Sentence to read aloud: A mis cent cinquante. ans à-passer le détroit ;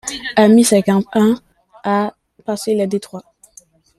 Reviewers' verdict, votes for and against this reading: rejected, 0, 2